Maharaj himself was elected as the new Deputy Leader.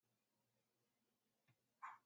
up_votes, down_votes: 0, 2